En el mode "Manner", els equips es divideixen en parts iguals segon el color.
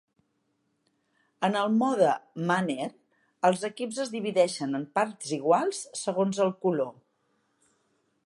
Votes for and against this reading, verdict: 2, 0, accepted